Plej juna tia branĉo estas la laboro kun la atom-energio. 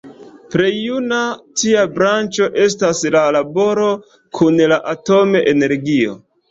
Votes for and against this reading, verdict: 0, 2, rejected